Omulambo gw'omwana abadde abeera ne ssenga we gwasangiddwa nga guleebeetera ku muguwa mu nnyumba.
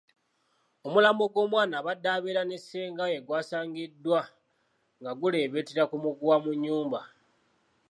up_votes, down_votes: 2, 0